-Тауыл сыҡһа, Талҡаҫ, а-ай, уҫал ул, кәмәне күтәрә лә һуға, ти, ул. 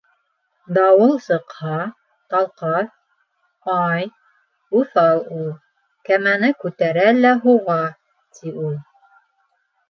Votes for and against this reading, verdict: 0, 2, rejected